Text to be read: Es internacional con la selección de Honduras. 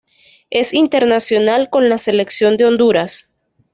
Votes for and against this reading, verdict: 2, 0, accepted